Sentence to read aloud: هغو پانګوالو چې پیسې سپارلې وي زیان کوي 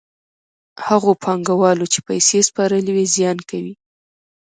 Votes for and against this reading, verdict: 2, 0, accepted